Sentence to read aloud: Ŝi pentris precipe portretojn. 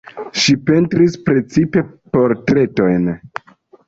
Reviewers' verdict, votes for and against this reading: rejected, 1, 2